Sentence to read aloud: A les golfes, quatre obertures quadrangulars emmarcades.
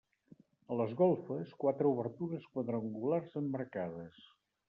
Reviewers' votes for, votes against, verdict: 1, 2, rejected